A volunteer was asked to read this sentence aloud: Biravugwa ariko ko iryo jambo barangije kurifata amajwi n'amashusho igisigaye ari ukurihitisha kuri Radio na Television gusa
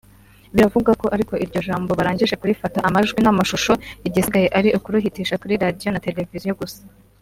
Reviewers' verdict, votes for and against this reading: rejected, 1, 2